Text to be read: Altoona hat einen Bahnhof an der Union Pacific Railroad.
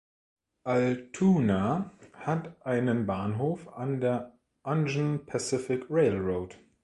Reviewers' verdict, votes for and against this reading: rejected, 0, 2